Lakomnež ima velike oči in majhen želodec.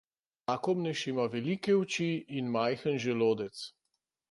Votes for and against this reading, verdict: 0, 2, rejected